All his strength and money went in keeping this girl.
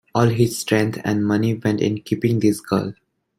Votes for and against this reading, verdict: 2, 0, accepted